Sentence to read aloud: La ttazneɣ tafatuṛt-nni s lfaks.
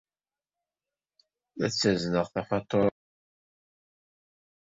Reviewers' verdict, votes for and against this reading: rejected, 0, 2